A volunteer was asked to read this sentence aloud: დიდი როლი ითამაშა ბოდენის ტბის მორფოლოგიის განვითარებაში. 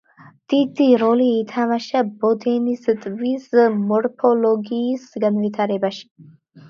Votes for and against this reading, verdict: 2, 1, accepted